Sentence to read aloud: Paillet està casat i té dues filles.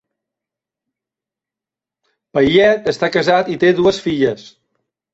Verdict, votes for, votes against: accepted, 2, 0